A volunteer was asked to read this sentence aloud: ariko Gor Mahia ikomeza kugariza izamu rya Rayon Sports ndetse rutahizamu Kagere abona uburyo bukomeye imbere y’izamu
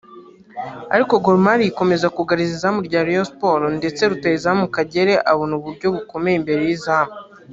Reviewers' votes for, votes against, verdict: 1, 2, rejected